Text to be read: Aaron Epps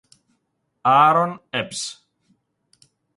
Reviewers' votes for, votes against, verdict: 6, 0, accepted